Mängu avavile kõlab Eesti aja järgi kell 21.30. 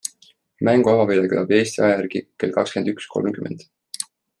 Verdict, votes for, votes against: rejected, 0, 2